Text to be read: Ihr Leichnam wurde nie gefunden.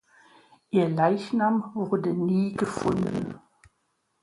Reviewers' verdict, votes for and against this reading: accepted, 2, 0